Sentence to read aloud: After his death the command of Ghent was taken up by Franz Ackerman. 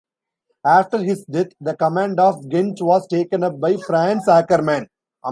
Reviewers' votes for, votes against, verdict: 0, 2, rejected